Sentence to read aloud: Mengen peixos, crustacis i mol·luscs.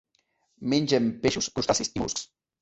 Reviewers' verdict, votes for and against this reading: rejected, 0, 2